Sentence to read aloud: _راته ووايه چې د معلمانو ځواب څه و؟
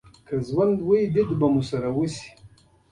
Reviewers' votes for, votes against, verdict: 1, 2, rejected